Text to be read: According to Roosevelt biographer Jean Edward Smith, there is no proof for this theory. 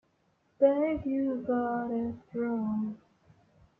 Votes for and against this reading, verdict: 1, 2, rejected